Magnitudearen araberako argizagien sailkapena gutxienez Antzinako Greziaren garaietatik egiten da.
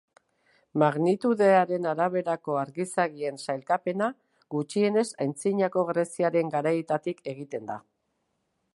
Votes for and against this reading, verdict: 2, 1, accepted